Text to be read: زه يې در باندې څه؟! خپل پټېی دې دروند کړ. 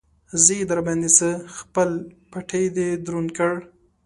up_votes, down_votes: 2, 1